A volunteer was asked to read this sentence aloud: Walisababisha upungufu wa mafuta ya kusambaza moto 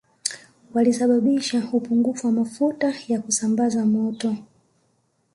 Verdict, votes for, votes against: accepted, 3, 0